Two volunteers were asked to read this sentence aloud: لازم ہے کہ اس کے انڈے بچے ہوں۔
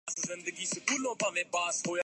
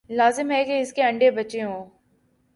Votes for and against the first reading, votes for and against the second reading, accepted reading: 0, 5, 3, 0, second